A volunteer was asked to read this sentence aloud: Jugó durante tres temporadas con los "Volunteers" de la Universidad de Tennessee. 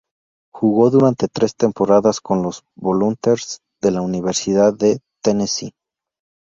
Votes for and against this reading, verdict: 2, 0, accepted